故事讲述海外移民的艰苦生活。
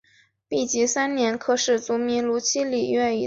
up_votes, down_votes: 0, 3